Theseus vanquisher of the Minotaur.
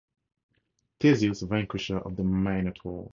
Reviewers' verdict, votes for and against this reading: rejected, 0, 2